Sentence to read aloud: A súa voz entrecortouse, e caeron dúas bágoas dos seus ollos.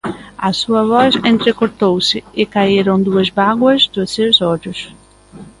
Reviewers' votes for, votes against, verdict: 2, 0, accepted